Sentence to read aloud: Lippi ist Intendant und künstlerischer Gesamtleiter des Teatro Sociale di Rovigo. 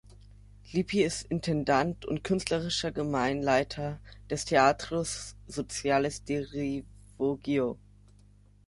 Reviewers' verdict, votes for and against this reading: rejected, 0, 2